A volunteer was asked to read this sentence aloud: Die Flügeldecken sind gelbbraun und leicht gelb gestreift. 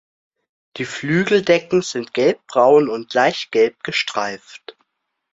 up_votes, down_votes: 2, 0